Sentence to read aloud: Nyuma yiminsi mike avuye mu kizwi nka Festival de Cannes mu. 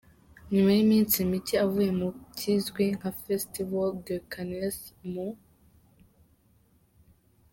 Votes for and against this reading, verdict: 3, 1, accepted